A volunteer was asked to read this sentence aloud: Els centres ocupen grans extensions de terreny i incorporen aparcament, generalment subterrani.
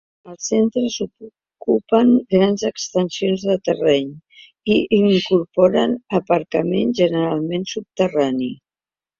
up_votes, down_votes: 0, 2